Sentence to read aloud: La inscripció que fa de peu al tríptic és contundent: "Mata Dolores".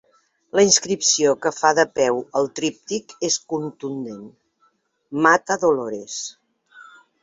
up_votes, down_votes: 2, 0